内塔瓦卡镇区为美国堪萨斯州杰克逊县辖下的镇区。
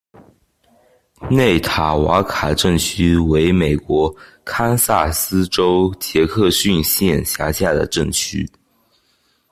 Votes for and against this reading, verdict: 2, 0, accepted